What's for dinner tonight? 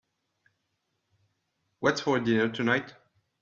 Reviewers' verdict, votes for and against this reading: accepted, 2, 1